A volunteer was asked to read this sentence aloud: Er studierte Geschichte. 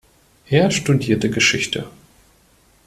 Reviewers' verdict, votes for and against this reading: accepted, 2, 0